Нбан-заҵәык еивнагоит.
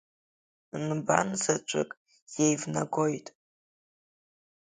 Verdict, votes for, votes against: rejected, 1, 2